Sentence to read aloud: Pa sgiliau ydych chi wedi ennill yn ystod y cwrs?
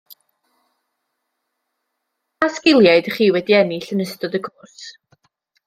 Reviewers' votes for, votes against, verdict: 1, 2, rejected